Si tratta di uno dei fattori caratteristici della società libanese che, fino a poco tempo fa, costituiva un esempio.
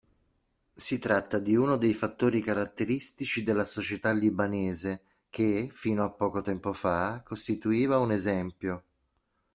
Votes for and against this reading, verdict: 2, 0, accepted